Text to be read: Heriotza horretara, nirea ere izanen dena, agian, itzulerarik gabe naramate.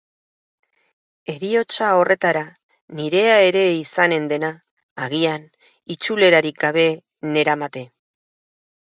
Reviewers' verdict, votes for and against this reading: rejected, 2, 2